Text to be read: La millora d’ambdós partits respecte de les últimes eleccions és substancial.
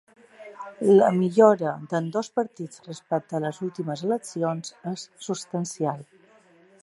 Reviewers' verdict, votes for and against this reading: rejected, 1, 2